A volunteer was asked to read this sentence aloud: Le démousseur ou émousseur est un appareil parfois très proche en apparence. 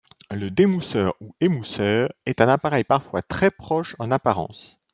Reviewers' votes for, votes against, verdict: 1, 2, rejected